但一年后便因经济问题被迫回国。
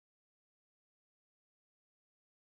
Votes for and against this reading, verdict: 1, 3, rejected